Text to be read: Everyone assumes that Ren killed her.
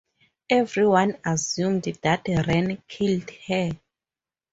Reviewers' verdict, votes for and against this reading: rejected, 0, 2